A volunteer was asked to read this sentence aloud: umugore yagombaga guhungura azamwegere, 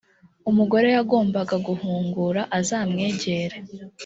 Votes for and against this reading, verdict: 2, 0, accepted